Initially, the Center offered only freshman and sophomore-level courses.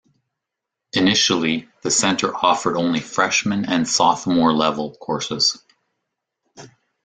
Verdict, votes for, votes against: accepted, 2, 0